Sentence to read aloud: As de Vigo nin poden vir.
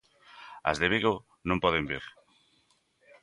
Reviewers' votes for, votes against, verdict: 0, 2, rejected